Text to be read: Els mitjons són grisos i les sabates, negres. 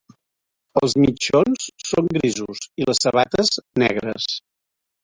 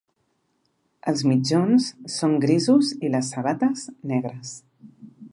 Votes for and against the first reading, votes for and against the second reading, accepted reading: 1, 2, 3, 0, second